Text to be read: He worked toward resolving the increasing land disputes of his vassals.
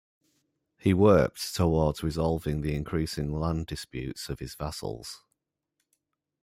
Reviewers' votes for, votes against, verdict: 0, 3, rejected